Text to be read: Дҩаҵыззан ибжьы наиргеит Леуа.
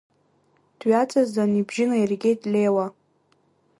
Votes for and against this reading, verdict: 0, 2, rejected